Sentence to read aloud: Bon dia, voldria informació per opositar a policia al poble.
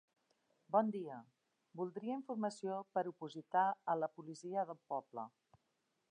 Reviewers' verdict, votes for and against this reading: rejected, 0, 2